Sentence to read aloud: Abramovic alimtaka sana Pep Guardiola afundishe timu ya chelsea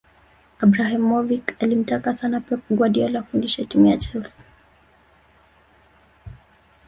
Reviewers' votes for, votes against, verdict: 1, 2, rejected